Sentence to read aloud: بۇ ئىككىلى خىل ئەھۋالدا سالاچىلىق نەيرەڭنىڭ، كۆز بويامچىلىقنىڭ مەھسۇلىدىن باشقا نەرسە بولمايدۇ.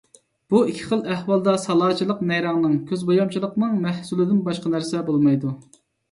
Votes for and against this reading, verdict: 0, 2, rejected